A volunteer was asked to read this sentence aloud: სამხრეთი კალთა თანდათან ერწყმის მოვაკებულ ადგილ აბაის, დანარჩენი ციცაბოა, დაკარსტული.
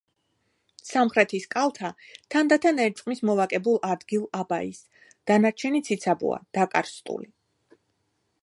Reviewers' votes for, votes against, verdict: 2, 1, accepted